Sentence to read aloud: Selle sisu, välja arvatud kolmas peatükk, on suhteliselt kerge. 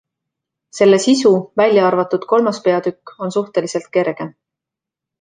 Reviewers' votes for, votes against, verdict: 2, 0, accepted